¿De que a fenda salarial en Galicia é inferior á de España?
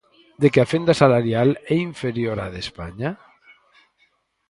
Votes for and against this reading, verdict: 0, 4, rejected